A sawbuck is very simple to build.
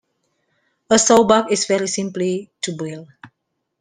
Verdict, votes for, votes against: rejected, 1, 2